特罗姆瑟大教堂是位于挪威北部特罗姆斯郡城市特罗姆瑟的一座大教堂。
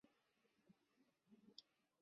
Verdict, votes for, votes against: rejected, 0, 3